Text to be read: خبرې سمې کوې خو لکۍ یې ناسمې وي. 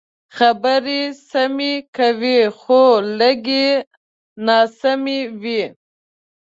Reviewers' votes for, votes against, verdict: 0, 2, rejected